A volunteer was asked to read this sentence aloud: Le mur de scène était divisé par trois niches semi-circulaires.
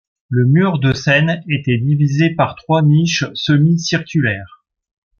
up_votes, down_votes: 2, 0